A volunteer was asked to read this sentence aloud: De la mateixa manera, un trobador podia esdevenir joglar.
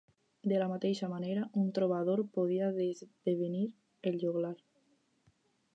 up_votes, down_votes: 0, 2